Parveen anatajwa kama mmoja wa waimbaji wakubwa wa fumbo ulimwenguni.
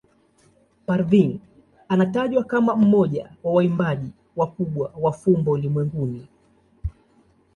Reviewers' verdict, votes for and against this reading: accepted, 2, 0